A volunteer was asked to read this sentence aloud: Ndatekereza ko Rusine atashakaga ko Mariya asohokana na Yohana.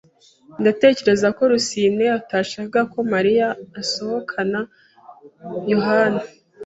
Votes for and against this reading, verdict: 1, 2, rejected